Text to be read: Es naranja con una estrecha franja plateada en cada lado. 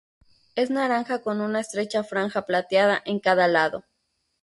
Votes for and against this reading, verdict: 4, 0, accepted